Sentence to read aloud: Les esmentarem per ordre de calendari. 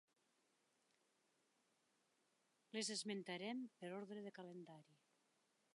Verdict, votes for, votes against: rejected, 1, 2